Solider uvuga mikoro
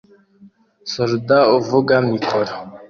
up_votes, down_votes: 2, 0